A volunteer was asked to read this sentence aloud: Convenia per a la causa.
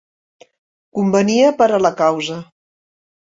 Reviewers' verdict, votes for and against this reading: accepted, 4, 0